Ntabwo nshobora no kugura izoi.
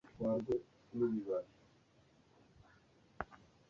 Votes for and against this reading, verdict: 1, 2, rejected